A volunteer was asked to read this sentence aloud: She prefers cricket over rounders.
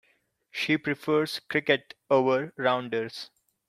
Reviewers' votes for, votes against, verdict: 2, 0, accepted